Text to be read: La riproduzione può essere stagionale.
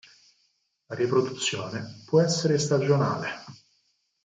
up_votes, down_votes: 4, 0